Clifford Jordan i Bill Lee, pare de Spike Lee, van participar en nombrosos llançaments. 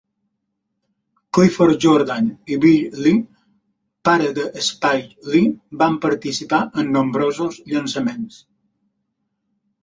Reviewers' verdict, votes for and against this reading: accepted, 3, 0